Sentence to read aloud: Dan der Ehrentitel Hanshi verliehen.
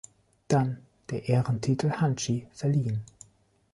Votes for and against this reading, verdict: 1, 2, rejected